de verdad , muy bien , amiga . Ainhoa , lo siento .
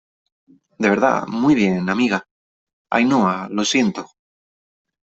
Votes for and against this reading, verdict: 3, 0, accepted